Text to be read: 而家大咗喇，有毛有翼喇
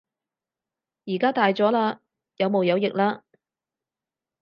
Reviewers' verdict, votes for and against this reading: accepted, 4, 0